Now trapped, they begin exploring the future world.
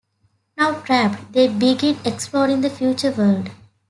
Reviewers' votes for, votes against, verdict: 7, 1, accepted